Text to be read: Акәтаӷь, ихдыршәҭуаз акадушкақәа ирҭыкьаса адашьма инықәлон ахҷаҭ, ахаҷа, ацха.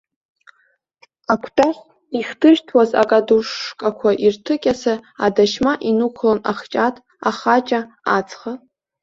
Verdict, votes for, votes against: accepted, 2, 0